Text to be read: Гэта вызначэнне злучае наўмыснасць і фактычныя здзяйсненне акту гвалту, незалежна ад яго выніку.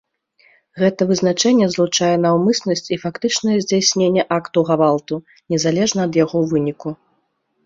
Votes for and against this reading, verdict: 2, 0, accepted